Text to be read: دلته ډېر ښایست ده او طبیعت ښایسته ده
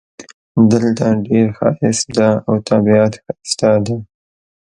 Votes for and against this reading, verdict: 1, 2, rejected